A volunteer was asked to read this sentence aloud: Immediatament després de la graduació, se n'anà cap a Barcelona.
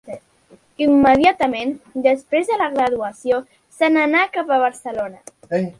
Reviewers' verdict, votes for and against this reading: rejected, 0, 2